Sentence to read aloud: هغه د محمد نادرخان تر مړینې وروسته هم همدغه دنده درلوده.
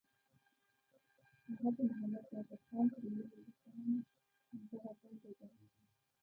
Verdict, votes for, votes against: rejected, 0, 2